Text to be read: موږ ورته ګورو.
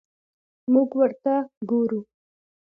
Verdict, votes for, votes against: accepted, 2, 1